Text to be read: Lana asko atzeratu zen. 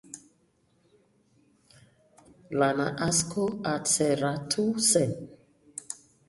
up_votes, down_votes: 2, 0